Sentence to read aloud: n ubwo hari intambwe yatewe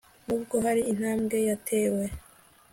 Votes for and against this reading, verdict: 2, 0, accepted